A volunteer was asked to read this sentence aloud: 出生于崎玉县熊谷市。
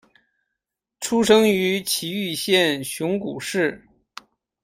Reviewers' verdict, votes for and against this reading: accepted, 2, 1